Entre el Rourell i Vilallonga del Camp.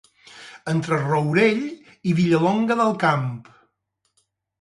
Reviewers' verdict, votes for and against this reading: rejected, 2, 2